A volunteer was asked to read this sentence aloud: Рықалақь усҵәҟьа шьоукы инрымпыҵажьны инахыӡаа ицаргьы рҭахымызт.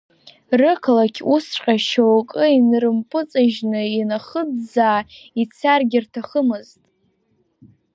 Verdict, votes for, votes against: accepted, 2, 0